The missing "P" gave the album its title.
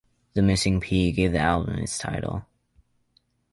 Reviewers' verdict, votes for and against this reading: rejected, 1, 2